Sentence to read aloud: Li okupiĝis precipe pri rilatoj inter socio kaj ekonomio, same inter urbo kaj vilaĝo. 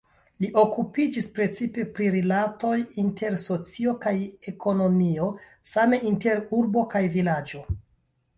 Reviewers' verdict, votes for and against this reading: accepted, 2, 0